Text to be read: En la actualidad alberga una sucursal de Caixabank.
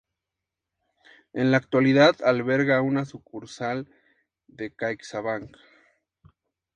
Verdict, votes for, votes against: accepted, 4, 0